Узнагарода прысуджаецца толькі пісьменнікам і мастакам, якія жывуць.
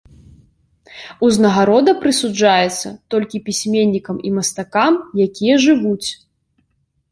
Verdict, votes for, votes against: accepted, 3, 0